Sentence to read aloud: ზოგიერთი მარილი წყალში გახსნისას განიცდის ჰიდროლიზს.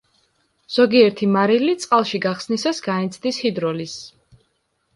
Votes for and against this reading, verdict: 2, 0, accepted